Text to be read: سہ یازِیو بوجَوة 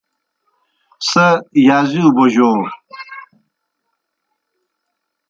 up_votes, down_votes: 0, 2